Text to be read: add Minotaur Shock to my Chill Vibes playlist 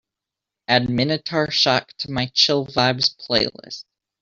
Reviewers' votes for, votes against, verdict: 2, 0, accepted